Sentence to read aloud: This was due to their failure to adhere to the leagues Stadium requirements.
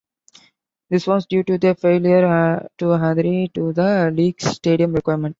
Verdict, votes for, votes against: rejected, 0, 2